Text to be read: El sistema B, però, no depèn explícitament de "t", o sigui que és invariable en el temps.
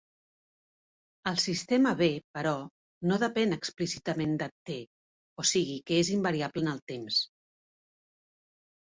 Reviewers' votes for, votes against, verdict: 2, 0, accepted